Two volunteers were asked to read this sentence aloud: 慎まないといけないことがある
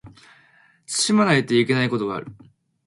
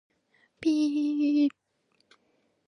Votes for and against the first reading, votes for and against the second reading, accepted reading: 4, 0, 0, 2, first